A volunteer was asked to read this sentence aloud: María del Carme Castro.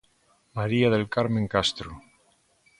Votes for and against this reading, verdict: 0, 2, rejected